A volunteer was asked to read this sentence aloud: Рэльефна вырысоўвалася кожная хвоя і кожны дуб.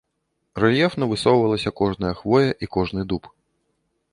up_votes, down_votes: 1, 2